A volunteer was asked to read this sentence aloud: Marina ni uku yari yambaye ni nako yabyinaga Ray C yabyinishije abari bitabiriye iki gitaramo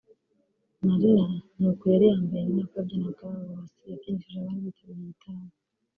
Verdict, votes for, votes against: rejected, 1, 2